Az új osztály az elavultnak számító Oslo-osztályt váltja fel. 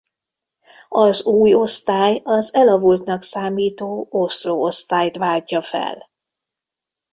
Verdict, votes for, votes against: accepted, 2, 0